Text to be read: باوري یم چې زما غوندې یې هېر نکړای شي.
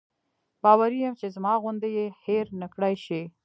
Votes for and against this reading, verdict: 1, 2, rejected